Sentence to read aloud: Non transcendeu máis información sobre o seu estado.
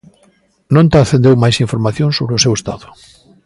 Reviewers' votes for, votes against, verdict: 2, 0, accepted